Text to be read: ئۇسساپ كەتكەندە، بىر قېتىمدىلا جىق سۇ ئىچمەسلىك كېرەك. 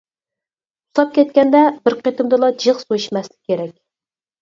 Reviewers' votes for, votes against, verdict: 0, 4, rejected